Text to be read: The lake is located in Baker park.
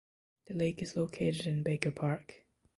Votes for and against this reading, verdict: 2, 0, accepted